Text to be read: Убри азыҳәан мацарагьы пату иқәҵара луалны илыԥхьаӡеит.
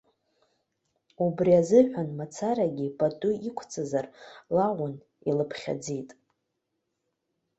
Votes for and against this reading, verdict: 0, 2, rejected